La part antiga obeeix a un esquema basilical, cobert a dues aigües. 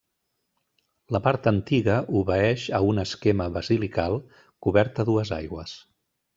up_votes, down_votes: 3, 0